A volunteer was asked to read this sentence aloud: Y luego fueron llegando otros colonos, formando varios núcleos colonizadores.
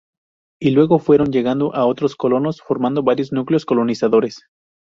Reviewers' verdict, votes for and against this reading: rejected, 2, 2